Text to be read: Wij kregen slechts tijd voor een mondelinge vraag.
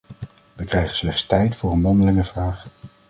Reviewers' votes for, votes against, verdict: 1, 2, rejected